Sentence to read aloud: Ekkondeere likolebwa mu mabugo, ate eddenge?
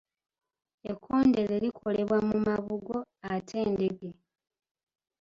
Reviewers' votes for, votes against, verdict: 0, 2, rejected